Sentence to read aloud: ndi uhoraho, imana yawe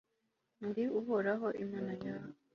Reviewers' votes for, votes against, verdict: 2, 0, accepted